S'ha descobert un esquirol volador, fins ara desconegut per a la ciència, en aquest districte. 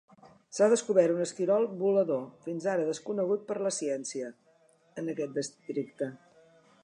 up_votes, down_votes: 1, 2